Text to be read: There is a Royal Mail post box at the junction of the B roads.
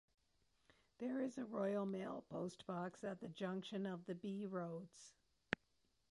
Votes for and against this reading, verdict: 2, 1, accepted